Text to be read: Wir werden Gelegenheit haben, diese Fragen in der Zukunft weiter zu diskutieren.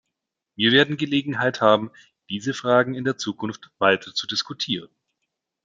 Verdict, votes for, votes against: accepted, 2, 0